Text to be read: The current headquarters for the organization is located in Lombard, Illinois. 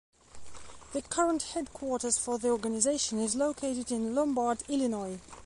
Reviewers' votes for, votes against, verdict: 2, 0, accepted